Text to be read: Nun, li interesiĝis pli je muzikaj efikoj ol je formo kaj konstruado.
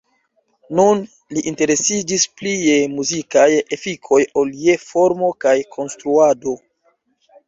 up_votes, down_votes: 2, 0